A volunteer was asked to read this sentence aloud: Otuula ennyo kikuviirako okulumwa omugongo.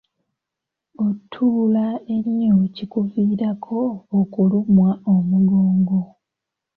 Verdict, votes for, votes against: accepted, 2, 1